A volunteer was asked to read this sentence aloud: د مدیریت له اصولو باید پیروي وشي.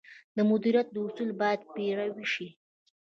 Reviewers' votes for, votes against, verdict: 1, 2, rejected